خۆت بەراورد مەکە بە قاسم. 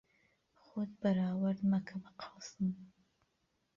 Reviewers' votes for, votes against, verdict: 0, 3, rejected